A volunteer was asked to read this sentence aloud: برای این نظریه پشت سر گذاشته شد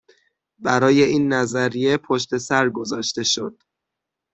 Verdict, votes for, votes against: accepted, 6, 0